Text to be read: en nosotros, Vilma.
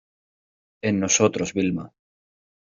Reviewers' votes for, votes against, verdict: 2, 0, accepted